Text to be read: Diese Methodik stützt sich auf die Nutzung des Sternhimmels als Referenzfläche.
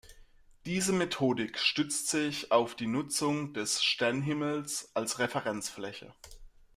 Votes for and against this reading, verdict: 2, 0, accepted